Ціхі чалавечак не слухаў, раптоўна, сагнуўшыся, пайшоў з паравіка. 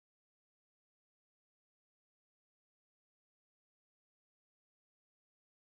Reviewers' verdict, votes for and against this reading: rejected, 0, 2